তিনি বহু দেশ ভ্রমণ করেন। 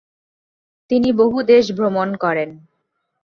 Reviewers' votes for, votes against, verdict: 4, 0, accepted